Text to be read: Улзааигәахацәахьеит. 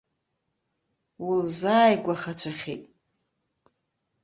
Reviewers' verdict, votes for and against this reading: accepted, 3, 0